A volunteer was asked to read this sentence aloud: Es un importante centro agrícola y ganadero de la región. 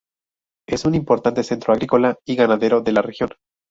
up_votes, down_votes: 0, 2